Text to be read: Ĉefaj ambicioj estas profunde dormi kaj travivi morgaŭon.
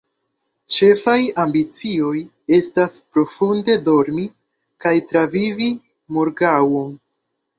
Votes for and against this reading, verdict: 1, 2, rejected